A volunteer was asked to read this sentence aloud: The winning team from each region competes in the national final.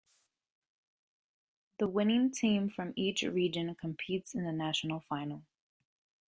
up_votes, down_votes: 3, 0